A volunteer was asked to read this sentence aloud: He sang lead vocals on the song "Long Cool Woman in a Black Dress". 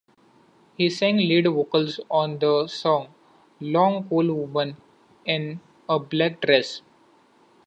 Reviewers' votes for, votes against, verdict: 2, 0, accepted